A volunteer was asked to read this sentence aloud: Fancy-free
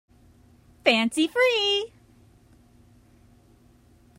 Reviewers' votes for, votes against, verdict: 3, 0, accepted